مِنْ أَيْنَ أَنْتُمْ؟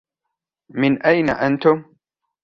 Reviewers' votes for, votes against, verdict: 2, 0, accepted